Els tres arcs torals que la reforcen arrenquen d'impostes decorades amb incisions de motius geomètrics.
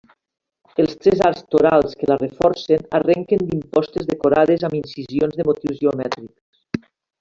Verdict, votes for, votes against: accepted, 4, 2